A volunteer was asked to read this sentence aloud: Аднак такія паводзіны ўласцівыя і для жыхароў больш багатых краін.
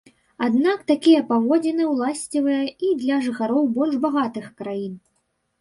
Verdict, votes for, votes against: rejected, 1, 2